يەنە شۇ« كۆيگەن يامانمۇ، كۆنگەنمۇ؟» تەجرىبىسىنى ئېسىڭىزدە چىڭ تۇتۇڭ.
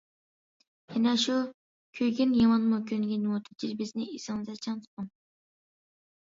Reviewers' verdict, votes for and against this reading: rejected, 0, 2